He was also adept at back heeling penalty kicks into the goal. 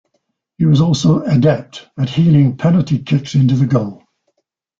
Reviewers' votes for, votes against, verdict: 1, 2, rejected